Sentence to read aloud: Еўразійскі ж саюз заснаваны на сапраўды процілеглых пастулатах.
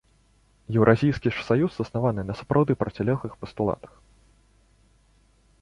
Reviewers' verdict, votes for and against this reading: accepted, 2, 0